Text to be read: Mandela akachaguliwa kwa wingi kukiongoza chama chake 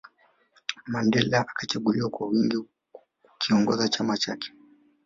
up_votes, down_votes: 2, 0